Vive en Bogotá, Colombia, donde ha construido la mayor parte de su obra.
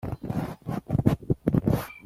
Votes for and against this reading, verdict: 1, 2, rejected